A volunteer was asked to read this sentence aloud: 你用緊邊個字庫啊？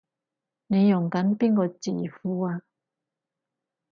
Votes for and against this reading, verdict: 4, 0, accepted